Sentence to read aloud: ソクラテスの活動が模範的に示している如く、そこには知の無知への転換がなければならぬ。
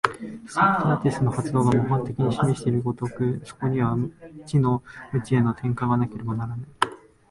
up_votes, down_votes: 0, 2